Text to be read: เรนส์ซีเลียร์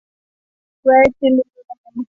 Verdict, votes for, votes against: rejected, 0, 2